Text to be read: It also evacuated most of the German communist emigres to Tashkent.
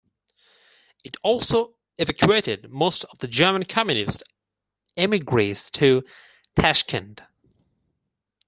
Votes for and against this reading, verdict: 4, 2, accepted